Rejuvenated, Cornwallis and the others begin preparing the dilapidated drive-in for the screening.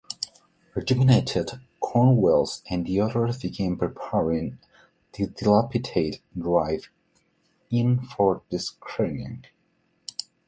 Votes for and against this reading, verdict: 0, 2, rejected